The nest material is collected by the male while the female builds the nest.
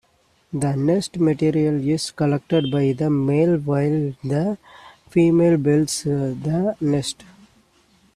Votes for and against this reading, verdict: 2, 1, accepted